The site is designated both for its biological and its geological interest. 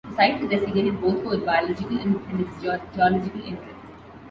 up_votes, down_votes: 0, 2